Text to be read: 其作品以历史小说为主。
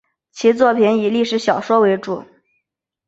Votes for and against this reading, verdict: 2, 0, accepted